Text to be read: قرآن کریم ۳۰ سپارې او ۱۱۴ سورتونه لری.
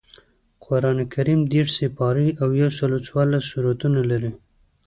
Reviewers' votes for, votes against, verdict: 0, 2, rejected